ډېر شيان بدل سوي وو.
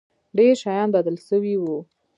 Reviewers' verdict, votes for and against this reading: rejected, 0, 2